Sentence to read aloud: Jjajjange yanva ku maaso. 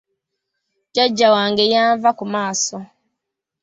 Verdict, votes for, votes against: rejected, 0, 2